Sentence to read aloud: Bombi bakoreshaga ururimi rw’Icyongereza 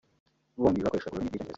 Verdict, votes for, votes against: rejected, 0, 2